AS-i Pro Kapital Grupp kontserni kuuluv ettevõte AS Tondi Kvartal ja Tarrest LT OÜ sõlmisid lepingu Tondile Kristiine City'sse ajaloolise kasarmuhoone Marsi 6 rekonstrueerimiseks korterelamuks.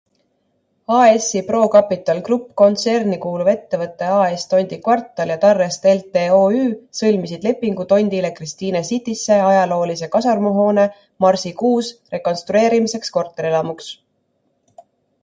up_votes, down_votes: 0, 2